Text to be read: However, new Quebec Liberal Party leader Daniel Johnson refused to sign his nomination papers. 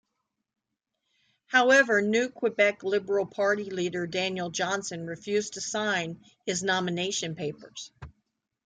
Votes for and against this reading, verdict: 2, 0, accepted